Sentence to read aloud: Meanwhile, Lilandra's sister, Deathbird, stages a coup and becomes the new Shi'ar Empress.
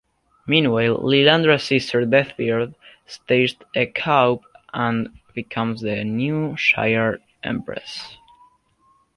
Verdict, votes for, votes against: rejected, 0, 2